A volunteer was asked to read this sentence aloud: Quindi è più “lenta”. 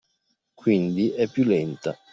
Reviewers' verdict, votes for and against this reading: accepted, 2, 0